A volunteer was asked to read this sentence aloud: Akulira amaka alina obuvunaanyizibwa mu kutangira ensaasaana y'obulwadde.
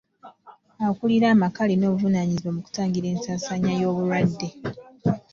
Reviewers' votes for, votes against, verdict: 1, 2, rejected